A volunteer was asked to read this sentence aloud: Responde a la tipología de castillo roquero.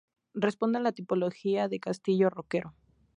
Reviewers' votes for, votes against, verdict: 4, 0, accepted